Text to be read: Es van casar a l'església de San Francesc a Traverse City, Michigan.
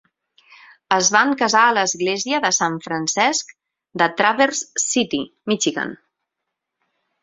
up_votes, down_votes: 2, 4